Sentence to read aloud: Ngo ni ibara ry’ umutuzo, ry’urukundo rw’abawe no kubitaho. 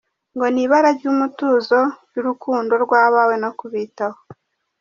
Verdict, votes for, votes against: accepted, 2, 0